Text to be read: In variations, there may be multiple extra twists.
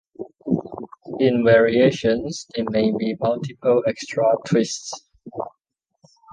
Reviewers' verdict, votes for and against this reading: rejected, 1, 2